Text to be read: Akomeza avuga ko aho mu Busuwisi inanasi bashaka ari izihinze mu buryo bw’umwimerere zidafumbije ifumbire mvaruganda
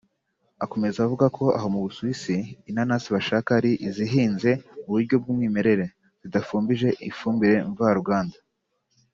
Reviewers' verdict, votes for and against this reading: accepted, 2, 0